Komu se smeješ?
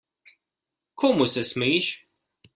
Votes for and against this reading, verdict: 1, 2, rejected